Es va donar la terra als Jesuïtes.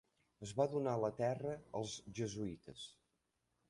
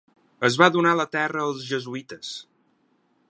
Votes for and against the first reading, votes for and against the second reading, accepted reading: 1, 2, 6, 0, second